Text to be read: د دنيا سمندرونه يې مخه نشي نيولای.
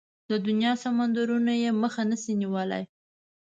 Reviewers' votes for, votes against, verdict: 2, 0, accepted